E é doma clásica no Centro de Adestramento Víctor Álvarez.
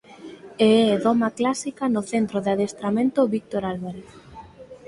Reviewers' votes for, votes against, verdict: 4, 0, accepted